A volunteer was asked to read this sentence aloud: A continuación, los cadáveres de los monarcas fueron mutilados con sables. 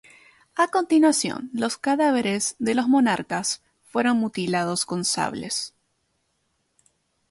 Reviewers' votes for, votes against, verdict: 2, 0, accepted